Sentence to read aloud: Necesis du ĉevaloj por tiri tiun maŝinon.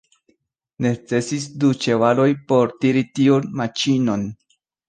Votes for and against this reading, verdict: 0, 2, rejected